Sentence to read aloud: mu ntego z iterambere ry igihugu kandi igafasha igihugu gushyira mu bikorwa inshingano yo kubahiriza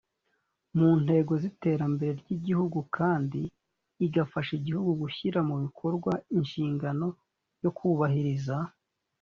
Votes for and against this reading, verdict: 2, 0, accepted